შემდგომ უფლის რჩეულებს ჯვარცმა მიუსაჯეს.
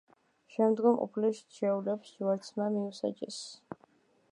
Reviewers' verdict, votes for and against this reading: rejected, 1, 2